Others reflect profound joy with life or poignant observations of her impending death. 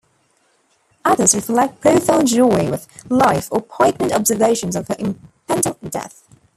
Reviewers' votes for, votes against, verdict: 0, 2, rejected